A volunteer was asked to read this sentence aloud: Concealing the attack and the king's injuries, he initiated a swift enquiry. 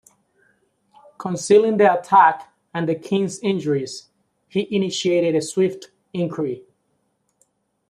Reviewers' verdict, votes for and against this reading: accepted, 2, 0